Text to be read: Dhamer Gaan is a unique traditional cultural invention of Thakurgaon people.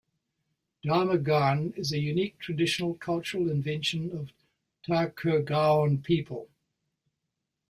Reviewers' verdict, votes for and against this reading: accepted, 2, 1